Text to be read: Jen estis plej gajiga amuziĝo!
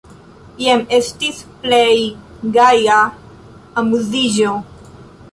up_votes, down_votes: 1, 2